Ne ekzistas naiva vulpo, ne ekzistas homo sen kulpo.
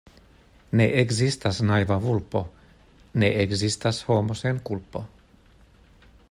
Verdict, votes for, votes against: accepted, 2, 0